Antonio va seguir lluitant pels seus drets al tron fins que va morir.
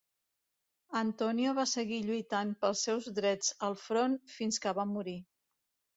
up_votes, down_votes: 1, 2